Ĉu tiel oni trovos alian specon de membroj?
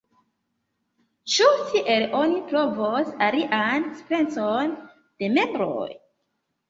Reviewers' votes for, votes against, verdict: 1, 2, rejected